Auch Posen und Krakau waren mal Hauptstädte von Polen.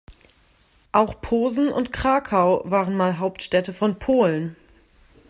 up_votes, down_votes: 2, 0